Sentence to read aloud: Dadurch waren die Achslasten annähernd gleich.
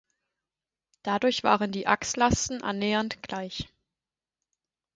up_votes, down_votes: 4, 2